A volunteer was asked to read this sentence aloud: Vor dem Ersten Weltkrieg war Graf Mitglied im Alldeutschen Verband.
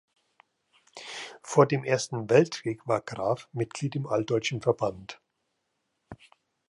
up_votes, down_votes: 2, 0